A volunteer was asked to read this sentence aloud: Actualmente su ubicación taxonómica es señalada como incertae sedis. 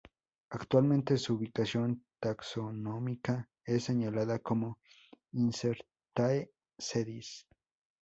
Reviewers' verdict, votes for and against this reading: accepted, 2, 0